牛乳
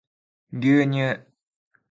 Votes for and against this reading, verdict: 3, 0, accepted